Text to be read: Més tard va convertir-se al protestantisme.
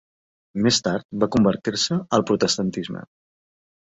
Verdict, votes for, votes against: accepted, 2, 0